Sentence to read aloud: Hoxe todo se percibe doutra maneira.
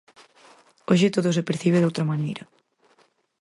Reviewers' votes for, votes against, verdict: 4, 0, accepted